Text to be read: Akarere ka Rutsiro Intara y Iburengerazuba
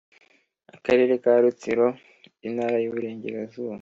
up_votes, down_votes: 3, 0